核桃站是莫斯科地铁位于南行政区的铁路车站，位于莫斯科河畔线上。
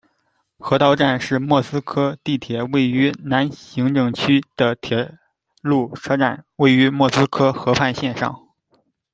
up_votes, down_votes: 0, 2